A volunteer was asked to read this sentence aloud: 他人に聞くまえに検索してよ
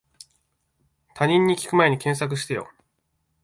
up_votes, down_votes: 2, 1